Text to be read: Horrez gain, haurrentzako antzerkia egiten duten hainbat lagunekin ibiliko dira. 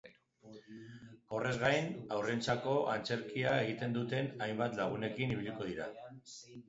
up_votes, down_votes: 2, 0